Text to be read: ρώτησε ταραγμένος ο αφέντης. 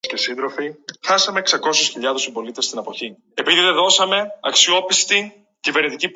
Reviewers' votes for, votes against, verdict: 0, 2, rejected